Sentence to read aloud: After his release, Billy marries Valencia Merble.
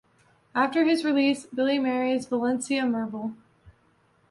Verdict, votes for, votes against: accepted, 2, 0